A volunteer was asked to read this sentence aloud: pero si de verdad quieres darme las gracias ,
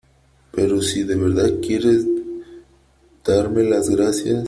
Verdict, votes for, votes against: accepted, 3, 0